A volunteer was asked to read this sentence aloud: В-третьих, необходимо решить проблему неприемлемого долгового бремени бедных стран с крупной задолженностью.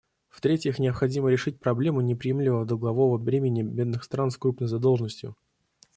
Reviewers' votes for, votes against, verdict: 2, 0, accepted